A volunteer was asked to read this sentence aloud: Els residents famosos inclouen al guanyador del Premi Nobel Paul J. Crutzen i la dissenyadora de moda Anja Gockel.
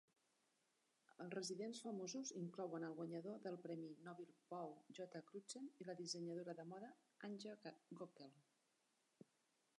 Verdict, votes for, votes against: rejected, 0, 2